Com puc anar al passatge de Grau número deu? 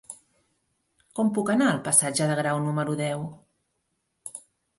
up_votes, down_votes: 4, 0